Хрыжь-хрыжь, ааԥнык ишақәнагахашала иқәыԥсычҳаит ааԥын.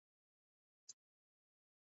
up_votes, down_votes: 0, 3